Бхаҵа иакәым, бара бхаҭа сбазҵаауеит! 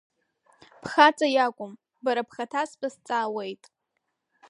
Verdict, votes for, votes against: rejected, 1, 2